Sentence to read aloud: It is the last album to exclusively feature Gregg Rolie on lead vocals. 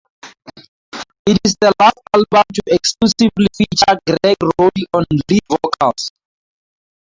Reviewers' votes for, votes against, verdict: 0, 2, rejected